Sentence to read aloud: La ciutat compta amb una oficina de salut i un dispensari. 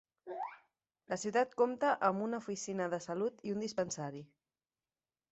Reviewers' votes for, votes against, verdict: 2, 0, accepted